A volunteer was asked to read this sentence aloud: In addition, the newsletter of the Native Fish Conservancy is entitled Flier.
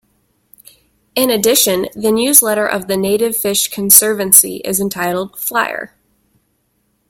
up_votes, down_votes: 2, 0